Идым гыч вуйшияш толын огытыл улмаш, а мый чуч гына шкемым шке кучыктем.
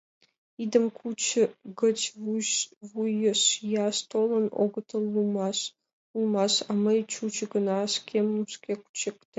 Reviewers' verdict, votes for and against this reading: rejected, 1, 2